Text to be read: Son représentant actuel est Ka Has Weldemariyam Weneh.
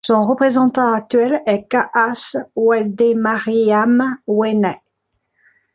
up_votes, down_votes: 1, 2